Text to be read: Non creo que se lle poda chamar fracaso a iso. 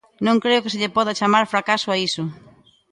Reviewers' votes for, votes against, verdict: 2, 0, accepted